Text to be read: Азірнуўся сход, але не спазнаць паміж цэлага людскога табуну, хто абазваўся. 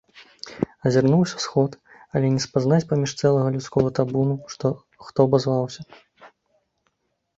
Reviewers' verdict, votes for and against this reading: rejected, 0, 3